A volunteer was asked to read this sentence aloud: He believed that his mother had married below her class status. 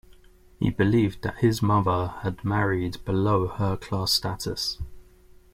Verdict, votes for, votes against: accepted, 2, 0